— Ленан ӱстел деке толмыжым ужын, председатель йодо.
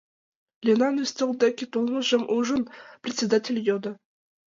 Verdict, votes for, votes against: accepted, 2, 0